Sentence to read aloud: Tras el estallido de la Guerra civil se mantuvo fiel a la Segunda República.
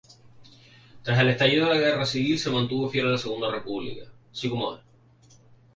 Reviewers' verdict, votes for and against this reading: rejected, 0, 2